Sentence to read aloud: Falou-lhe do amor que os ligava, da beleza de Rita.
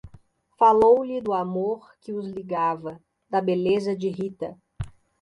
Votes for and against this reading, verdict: 2, 0, accepted